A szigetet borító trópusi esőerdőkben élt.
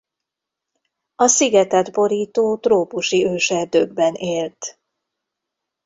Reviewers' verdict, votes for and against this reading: rejected, 0, 2